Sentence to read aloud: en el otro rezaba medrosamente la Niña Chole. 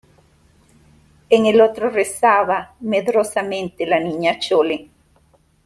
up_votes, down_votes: 2, 0